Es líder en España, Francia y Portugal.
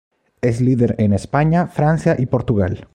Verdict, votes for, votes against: rejected, 0, 2